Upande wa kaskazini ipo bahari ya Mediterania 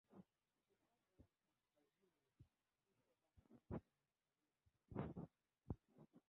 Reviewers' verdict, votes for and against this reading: rejected, 0, 2